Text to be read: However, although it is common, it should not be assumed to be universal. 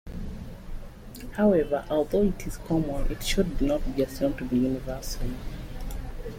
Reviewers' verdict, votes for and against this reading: accepted, 2, 0